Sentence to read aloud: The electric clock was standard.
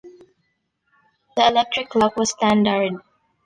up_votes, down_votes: 2, 0